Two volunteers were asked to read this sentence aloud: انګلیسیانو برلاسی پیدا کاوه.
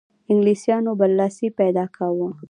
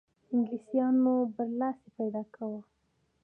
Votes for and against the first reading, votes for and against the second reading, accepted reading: 2, 0, 1, 2, first